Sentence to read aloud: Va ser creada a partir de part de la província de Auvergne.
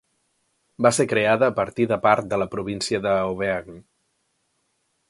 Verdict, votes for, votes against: accepted, 2, 0